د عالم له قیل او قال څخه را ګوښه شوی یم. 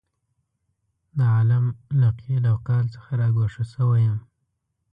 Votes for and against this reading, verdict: 2, 0, accepted